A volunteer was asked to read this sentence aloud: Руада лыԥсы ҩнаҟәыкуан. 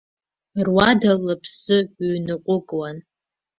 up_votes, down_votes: 2, 0